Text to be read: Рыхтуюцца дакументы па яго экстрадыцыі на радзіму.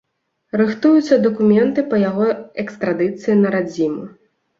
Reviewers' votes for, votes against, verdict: 2, 0, accepted